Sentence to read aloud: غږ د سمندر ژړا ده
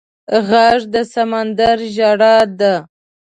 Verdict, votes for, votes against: accepted, 3, 0